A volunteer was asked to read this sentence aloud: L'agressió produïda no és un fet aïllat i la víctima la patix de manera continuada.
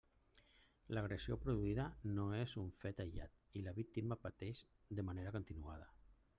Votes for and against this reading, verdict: 0, 2, rejected